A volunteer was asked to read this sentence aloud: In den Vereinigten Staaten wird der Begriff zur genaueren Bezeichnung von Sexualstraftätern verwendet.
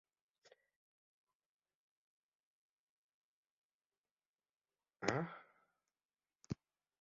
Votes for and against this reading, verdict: 0, 2, rejected